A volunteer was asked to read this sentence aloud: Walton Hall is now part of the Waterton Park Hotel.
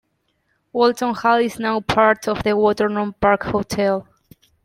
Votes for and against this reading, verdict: 1, 2, rejected